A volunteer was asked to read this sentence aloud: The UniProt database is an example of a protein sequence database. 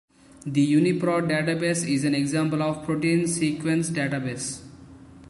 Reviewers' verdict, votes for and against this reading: accepted, 2, 0